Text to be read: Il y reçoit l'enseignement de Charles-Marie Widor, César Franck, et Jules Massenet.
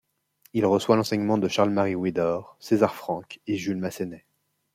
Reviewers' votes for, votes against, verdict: 0, 2, rejected